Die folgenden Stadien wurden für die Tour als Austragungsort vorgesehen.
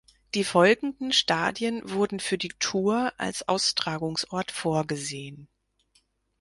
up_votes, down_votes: 4, 0